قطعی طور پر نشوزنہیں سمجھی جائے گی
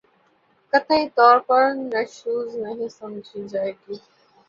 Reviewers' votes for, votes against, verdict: 11, 3, accepted